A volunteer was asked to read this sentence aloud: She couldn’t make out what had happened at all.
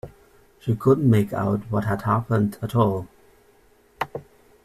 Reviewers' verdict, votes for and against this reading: accepted, 2, 0